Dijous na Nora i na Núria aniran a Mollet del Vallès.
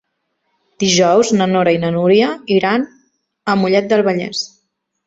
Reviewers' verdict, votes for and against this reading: rejected, 0, 2